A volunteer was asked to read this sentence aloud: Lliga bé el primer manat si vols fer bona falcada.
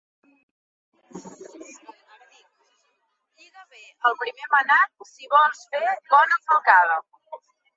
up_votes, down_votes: 0, 2